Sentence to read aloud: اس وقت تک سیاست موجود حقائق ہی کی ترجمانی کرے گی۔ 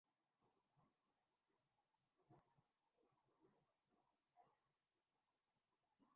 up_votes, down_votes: 0, 2